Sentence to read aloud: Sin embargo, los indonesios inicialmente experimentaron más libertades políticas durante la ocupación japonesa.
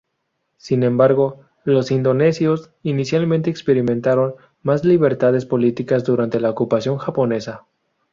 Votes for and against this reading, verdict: 0, 2, rejected